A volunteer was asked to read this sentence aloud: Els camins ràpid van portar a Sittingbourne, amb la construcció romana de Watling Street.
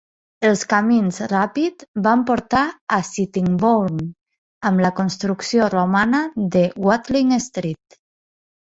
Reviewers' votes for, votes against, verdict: 2, 0, accepted